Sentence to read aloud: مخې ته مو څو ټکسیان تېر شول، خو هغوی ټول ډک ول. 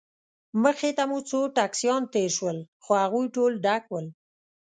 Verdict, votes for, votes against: accepted, 2, 0